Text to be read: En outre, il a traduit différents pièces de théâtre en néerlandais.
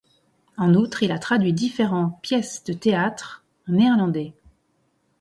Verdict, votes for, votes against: accepted, 2, 0